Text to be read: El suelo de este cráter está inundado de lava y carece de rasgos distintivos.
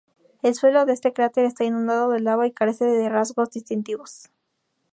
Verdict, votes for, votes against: accepted, 2, 0